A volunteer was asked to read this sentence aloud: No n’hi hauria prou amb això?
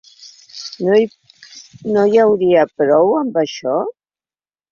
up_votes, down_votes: 0, 2